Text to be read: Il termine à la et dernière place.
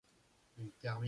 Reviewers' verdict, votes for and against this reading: rejected, 0, 2